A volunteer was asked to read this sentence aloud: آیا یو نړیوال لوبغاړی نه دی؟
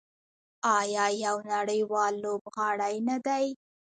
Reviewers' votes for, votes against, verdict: 2, 0, accepted